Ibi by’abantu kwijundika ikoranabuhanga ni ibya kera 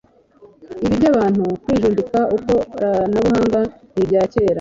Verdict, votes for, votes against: rejected, 0, 2